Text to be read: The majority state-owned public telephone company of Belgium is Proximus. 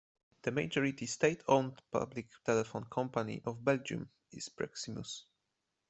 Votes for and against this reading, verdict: 2, 0, accepted